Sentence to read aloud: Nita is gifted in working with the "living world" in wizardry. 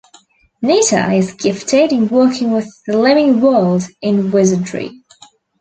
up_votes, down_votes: 2, 0